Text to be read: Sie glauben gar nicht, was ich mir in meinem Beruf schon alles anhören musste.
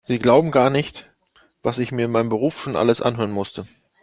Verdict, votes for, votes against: accepted, 2, 0